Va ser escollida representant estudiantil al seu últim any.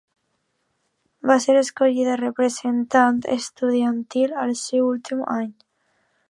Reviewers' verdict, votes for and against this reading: accepted, 2, 0